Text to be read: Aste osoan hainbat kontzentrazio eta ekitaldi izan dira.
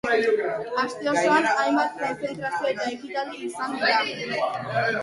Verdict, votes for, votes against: accepted, 2, 0